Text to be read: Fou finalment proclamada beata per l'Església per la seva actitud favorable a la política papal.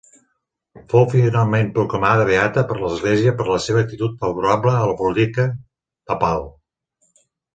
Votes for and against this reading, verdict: 1, 3, rejected